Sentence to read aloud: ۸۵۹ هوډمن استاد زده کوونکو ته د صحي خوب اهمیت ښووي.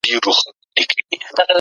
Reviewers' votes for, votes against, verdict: 0, 2, rejected